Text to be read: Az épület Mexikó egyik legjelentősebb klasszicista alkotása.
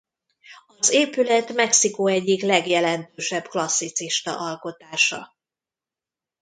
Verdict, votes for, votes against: rejected, 0, 2